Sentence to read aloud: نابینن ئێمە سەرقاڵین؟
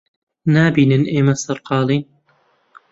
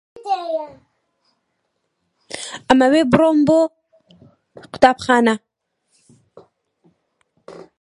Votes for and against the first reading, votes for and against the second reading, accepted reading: 2, 0, 0, 2, first